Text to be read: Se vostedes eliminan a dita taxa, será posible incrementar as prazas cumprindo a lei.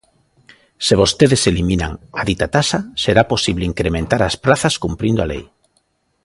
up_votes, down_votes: 2, 0